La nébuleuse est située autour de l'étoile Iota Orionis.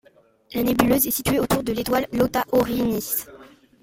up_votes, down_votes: 1, 2